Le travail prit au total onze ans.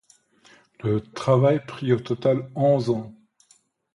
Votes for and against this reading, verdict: 2, 0, accepted